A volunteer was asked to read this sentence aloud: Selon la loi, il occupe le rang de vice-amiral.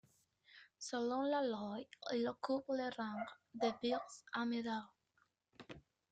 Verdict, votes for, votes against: rejected, 0, 2